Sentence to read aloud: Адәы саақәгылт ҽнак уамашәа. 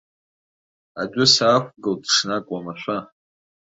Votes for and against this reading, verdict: 2, 0, accepted